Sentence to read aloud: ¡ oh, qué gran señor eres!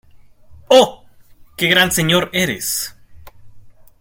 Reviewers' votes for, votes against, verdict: 2, 0, accepted